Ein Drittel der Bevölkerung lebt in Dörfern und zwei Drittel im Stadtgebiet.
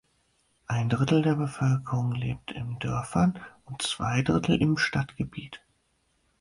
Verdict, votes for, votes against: accepted, 4, 0